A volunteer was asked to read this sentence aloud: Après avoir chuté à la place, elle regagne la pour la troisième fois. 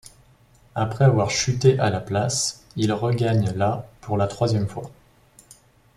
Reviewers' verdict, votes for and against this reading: accepted, 2, 1